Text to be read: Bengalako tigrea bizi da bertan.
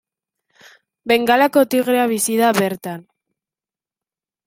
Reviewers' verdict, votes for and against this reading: accepted, 2, 0